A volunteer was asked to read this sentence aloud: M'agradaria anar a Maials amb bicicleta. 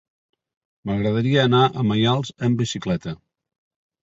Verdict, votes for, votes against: accepted, 3, 0